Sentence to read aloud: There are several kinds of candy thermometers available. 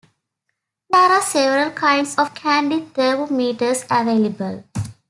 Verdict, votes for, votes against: accepted, 2, 1